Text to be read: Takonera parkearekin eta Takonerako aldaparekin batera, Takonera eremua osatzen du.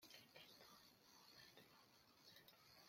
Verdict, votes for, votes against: rejected, 0, 2